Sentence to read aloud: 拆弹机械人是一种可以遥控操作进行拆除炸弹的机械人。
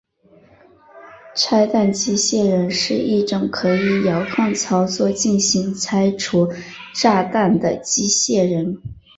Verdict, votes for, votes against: accepted, 4, 1